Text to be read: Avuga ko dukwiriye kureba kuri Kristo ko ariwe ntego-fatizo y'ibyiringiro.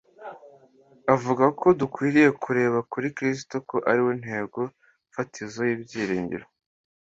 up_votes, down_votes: 2, 0